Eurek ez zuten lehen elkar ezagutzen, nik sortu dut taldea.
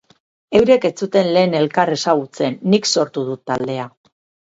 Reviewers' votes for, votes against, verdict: 4, 2, accepted